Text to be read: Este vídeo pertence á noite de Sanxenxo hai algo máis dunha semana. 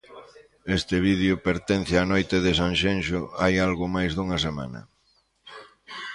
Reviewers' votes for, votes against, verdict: 0, 2, rejected